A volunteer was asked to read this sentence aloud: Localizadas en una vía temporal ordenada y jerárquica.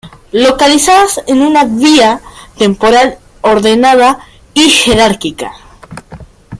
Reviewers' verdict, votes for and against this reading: accepted, 2, 0